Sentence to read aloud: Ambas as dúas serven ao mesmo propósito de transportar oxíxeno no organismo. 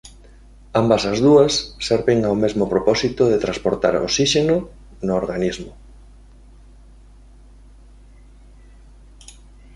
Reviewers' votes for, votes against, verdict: 2, 1, accepted